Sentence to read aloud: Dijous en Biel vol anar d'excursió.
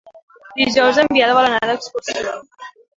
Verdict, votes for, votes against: rejected, 1, 2